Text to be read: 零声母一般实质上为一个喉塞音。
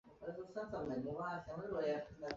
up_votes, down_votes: 0, 3